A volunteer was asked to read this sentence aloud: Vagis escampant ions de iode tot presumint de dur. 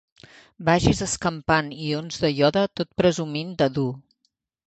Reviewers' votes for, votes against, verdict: 2, 0, accepted